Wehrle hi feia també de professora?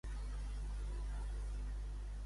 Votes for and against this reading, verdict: 0, 2, rejected